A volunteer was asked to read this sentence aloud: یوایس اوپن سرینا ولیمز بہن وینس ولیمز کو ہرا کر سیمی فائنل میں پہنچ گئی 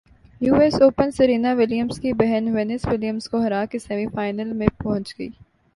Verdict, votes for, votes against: accepted, 2, 0